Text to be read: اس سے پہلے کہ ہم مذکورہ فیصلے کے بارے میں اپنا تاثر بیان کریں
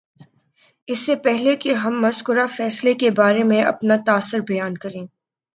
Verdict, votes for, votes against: accepted, 4, 2